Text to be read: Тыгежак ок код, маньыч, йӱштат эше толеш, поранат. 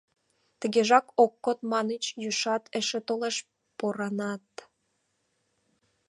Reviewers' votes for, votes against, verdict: 2, 1, accepted